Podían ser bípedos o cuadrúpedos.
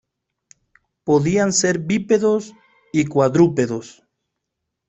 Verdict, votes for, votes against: rejected, 0, 2